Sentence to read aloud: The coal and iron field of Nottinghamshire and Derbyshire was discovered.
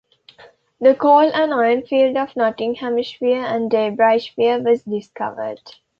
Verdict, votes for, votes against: rejected, 0, 2